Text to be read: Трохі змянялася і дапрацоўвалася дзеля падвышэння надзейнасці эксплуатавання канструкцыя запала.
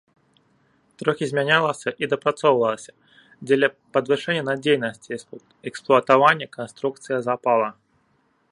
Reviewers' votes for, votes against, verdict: 0, 2, rejected